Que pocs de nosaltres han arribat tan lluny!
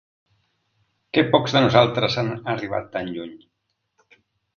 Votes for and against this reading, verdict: 1, 2, rejected